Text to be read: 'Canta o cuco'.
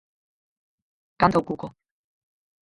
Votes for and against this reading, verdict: 2, 2, rejected